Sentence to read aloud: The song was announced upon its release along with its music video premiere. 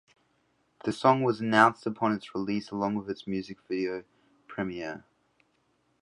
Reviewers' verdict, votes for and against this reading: accepted, 2, 0